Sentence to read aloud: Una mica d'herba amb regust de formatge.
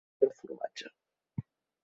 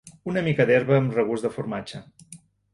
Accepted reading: second